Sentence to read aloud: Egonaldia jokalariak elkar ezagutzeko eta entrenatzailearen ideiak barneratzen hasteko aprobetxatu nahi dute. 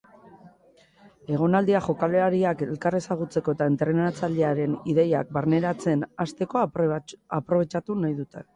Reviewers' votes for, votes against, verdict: 1, 2, rejected